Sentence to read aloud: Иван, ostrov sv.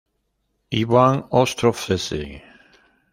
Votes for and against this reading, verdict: 1, 2, rejected